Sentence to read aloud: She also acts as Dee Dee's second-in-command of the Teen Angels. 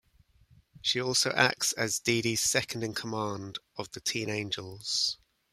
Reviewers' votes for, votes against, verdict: 2, 0, accepted